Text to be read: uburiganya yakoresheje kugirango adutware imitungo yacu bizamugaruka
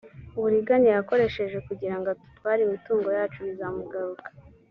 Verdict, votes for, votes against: accepted, 2, 0